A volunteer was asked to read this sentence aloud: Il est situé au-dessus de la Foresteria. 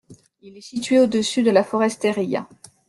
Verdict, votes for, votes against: rejected, 1, 2